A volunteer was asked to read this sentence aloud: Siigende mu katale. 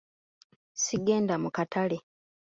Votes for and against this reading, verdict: 2, 3, rejected